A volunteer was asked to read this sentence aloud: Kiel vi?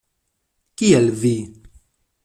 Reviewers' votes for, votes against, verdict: 2, 0, accepted